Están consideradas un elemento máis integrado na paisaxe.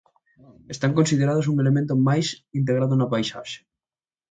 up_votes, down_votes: 0, 2